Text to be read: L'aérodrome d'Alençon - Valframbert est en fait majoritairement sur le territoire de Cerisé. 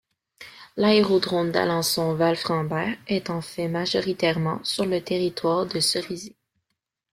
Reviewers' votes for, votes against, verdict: 2, 0, accepted